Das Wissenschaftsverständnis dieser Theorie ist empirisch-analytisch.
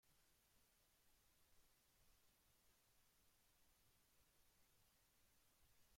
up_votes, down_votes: 0, 2